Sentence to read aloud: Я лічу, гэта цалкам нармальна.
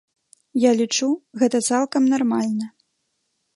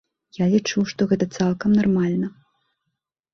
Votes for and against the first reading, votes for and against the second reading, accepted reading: 3, 0, 2, 4, first